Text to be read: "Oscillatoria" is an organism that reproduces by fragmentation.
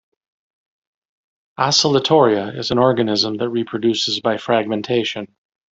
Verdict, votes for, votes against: accepted, 2, 0